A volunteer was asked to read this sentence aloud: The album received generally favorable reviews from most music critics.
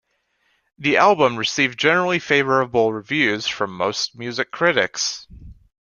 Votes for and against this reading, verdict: 3, 0, accepted